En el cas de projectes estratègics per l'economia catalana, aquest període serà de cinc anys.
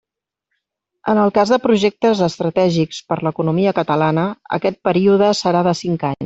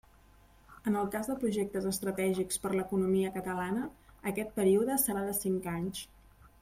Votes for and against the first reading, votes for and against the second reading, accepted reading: 0, 2, 3, 0, second